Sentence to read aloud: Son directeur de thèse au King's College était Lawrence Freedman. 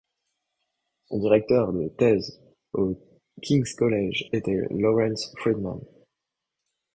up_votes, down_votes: 2, 1